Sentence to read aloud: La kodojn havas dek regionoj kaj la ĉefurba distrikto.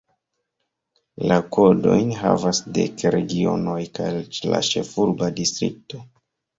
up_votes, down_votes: 0, 2